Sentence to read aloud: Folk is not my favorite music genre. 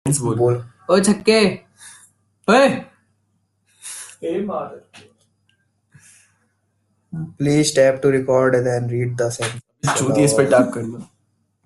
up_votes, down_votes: 0, 3